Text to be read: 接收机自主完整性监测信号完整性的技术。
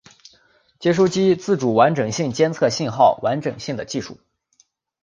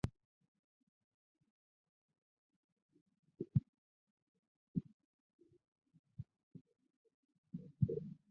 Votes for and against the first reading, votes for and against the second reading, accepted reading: 2, 1, 0, 4, first